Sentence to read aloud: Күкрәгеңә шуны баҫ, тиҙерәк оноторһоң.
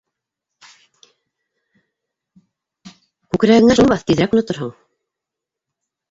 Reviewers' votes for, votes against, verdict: 1, 2, rejected